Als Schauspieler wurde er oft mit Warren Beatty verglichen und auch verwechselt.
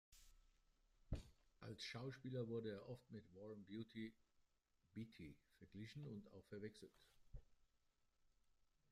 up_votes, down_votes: 0, 2